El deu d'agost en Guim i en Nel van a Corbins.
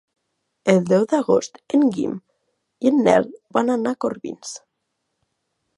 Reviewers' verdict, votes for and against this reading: rejected, 0, 2